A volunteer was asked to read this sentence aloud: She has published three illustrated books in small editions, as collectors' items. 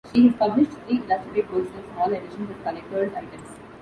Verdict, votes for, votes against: rejected, 0, 2